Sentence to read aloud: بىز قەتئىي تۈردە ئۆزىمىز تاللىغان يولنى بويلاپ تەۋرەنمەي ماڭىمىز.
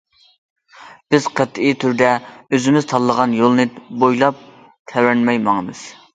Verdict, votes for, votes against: accepted, 2, 0